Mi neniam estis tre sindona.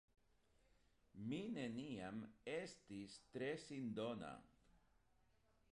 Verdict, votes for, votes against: accepted, 2, 0